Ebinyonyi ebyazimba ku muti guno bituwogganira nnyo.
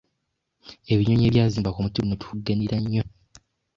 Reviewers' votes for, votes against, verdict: 0, 2, rejected